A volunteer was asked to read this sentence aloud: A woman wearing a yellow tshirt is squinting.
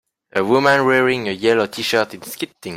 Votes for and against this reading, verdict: 0, 2, rejected